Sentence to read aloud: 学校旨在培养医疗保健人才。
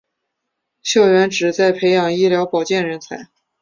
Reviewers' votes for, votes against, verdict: 4, 0, accepted